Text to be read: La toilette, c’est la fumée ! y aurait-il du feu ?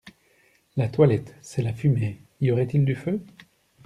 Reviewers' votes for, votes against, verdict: 2, 0, accepted